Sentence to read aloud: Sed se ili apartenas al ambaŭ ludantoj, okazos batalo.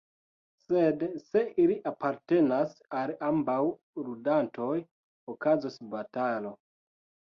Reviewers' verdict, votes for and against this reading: accepted, 2, 0